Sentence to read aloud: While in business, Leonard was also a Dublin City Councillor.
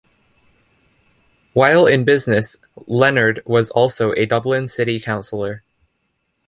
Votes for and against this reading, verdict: 2, 0, accepted